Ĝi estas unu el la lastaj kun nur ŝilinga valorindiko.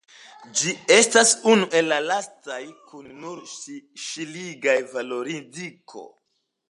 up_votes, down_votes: 1, 2